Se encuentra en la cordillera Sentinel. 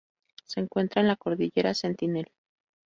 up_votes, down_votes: 2, 0